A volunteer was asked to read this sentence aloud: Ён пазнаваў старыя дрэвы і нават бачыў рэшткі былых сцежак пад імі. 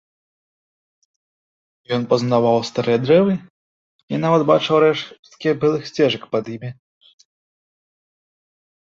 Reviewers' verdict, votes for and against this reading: rejected, 0, 2